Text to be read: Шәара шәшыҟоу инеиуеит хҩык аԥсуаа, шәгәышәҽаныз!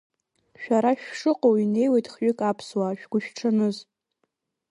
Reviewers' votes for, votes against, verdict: 2, 0, accepted